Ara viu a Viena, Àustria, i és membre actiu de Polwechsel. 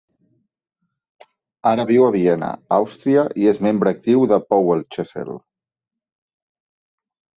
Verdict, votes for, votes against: rejected, 2, 4